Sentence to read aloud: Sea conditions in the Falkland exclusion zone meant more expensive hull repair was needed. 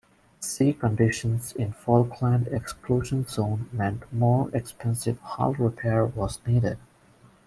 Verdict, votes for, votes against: accepted, 2, 0